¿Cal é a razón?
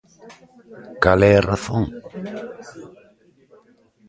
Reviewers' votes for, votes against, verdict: 2, 0, accepted